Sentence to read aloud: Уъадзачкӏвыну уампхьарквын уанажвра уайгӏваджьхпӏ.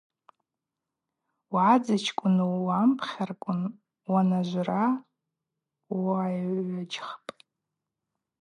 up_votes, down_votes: 4, 0